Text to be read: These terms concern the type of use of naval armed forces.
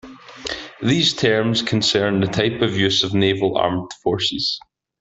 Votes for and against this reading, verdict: 2, 0, accepted